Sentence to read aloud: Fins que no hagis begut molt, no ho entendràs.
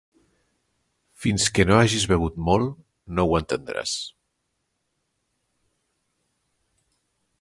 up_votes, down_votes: 1, 2